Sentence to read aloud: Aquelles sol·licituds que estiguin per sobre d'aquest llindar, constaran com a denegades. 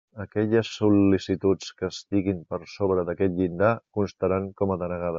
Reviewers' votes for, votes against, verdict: 1, 2, rejected